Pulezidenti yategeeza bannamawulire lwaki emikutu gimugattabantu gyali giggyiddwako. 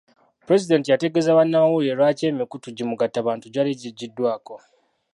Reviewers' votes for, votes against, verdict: 1, 2, rejected